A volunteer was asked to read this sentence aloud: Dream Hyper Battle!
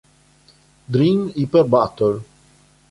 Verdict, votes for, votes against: rejected, 1, 2